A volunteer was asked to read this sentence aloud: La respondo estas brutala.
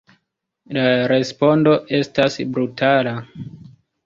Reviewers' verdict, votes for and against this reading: rejected, 1, 2